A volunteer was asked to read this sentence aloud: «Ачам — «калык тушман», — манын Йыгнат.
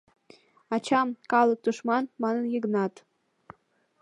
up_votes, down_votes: 2, 0